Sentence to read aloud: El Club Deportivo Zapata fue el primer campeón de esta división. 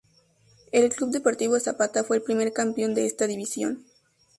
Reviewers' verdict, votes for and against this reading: accepted, 2, 0